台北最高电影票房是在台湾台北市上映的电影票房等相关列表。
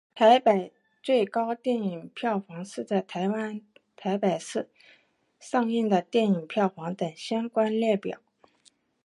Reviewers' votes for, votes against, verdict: 4, 1, accepted